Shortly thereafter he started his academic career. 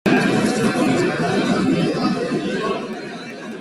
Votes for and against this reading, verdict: 0, 2, rejected